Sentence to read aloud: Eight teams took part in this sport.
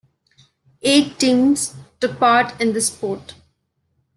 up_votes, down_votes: 2, 0